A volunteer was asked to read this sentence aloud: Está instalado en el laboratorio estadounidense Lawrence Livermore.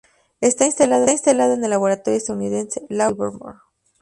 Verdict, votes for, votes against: accepted, 2, 0